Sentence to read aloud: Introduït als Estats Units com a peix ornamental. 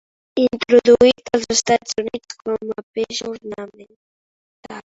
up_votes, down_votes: 0, 2